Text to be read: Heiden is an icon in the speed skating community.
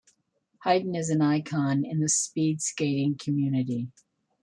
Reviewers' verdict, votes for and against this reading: accepted, 2, 0